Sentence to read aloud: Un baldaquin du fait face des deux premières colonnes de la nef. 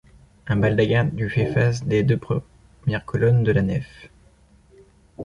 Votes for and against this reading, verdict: 1, 2, rejected